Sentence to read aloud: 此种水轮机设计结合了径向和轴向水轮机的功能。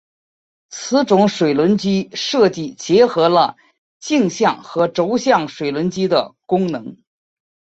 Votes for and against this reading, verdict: 3, 1, accepted